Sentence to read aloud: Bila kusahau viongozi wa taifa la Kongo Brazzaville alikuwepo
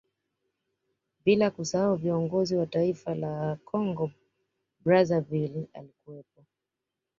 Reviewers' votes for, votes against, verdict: 2, 0, accepted